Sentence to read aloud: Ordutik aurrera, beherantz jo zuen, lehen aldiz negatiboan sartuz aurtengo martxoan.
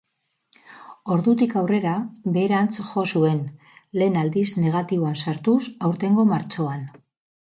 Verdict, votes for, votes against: rejected, 2, 2